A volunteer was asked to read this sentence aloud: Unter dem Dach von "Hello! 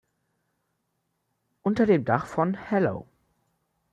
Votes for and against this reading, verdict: 2, 0, accepted